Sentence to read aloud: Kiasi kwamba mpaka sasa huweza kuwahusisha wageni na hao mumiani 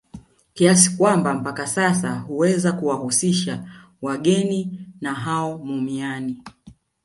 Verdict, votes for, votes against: rejected, 1, 2